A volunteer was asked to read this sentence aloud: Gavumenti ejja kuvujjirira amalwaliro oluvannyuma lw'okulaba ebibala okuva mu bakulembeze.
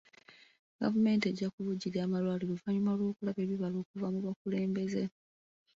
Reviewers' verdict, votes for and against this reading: accepted, 2, 1